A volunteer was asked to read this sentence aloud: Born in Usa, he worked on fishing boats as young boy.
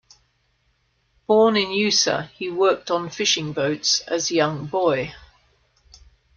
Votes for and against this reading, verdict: 2, 0, accepted